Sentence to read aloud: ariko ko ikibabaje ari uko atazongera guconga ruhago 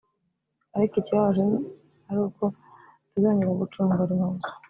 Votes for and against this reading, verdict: 1, 2, rejected